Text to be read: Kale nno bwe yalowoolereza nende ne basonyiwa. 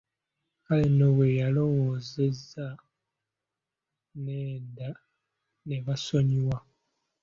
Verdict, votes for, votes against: rejected, 0, 2